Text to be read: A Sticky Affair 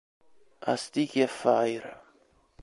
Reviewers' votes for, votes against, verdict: 0, 2, rejected